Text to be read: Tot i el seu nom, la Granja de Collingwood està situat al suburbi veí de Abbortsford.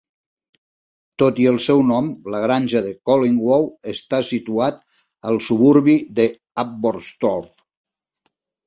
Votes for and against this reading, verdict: 1, 2, rejected